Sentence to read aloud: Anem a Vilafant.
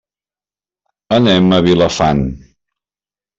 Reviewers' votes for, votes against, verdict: 3, 0, accepted